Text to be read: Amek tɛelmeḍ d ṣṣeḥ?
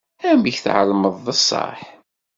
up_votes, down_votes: 2, 0